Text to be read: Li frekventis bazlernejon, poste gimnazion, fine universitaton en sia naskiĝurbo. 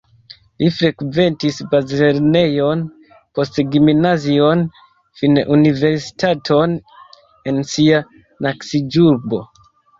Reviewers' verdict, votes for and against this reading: rejected, 0, 3